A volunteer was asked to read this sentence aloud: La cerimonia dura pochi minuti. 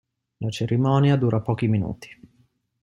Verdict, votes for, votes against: accepted, 2, 0